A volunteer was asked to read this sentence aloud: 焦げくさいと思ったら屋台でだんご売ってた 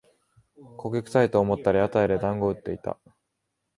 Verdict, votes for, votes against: accepted, 2, 0